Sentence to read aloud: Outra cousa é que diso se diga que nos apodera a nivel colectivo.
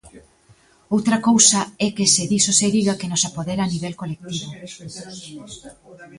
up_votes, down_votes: 1, 2